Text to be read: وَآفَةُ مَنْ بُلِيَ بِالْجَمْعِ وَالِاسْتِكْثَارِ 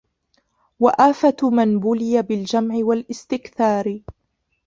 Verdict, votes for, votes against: rejected, 0, 2